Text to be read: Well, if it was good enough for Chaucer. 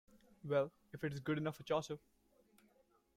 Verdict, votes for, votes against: rejected, 1, 2